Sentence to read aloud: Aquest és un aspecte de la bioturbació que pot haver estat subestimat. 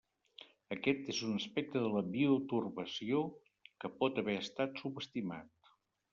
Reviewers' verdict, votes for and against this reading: accepted, 2, 0